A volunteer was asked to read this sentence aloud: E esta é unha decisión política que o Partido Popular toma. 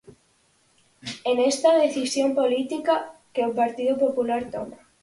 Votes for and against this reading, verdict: 0, 4, rejected